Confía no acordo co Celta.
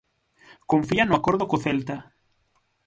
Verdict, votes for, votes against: accepted, 6, 0